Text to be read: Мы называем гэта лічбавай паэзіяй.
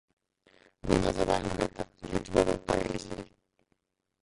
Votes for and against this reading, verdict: 0, 2, rejected